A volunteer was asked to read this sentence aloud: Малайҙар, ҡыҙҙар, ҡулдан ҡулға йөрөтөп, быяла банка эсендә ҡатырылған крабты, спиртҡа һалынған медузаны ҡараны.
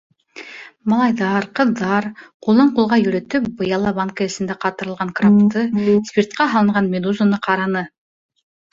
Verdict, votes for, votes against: rejected, 0, 2